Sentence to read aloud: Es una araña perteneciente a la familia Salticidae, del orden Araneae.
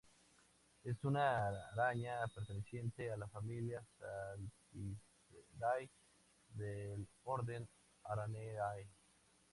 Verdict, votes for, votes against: rejected, 2, 4